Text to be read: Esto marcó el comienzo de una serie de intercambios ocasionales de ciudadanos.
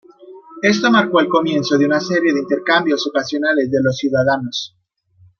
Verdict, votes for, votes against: rejected, 1, 2